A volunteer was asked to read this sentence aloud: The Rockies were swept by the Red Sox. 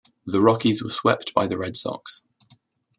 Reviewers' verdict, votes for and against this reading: accepted, 2, 0